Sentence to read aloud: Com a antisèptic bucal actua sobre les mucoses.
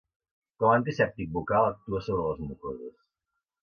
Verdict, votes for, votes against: rejected, 0, 2